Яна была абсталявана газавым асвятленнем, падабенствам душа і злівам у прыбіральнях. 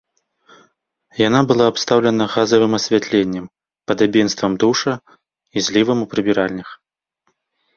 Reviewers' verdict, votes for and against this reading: rejected, 0, 2